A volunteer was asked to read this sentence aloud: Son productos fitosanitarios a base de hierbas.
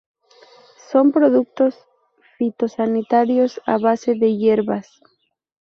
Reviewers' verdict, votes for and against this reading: accepted, 2, 0